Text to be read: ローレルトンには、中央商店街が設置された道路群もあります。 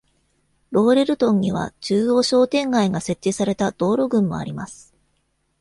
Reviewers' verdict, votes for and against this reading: accepted, 2, 0